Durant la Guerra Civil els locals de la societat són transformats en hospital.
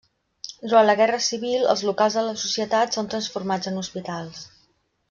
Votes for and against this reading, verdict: 0, 2, rejected